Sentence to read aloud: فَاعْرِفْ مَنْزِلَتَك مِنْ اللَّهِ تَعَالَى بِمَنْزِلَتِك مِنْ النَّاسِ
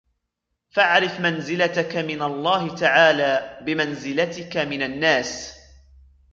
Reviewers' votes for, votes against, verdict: 1, 2, rejected